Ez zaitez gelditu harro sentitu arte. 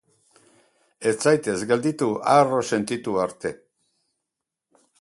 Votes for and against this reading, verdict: 0, 2, rejected